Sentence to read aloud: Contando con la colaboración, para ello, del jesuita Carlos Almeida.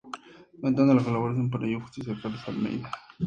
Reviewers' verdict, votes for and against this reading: accepted, 2, 0